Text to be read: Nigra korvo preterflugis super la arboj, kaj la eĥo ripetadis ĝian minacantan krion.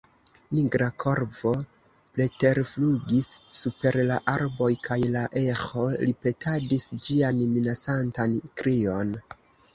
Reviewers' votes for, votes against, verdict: 2, 0, accepted